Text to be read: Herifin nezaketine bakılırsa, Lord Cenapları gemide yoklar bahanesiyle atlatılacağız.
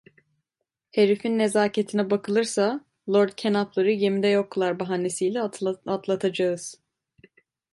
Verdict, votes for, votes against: rejected, 0, 2